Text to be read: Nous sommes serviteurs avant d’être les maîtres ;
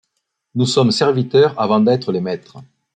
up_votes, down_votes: 2, 0